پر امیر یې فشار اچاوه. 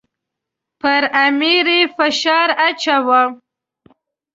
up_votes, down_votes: 2, 0